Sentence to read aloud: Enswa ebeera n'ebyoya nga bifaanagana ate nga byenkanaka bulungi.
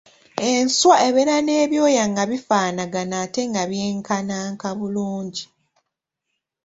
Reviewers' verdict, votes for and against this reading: accepted, 2, 1